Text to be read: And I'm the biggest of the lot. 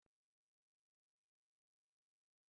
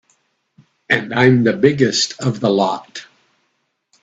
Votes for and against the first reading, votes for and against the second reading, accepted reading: 0, 2, 3, 0, second